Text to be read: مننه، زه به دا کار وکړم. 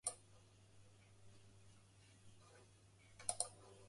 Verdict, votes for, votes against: rejected, 0, 2